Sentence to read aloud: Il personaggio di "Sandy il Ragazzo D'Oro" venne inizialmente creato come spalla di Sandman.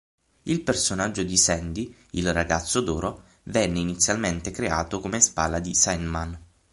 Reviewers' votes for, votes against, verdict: 3, 6, rejected